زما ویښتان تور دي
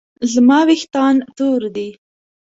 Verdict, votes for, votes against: accepted, 2, 0